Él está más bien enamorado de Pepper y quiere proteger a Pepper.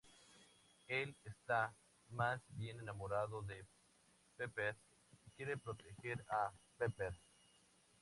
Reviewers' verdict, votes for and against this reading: accepted, 2, 0